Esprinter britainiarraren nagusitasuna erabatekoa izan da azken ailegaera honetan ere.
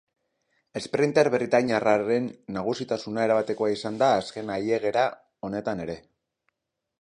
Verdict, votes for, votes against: rejected, 0, 2